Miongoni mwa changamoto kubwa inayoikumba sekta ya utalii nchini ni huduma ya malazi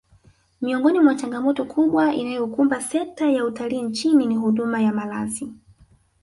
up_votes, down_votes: 1, 2